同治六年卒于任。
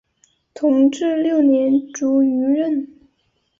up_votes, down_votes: 5, 0